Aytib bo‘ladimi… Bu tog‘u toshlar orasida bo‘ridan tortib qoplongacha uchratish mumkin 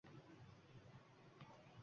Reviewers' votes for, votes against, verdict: 1, 2, rejected